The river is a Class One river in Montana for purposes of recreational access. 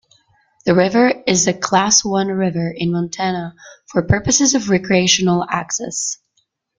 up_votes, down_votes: 2, 1